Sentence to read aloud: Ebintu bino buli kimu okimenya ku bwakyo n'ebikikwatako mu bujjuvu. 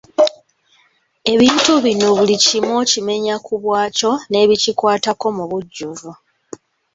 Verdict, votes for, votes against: accepted, 2, 0